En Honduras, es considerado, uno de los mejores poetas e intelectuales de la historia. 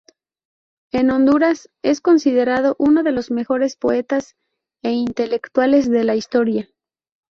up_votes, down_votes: 2, 0